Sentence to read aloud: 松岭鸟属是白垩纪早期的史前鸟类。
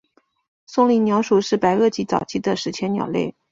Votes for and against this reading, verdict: 5, 0, accepted